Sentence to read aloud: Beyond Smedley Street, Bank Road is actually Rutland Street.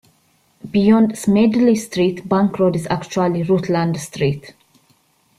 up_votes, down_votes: 2, 0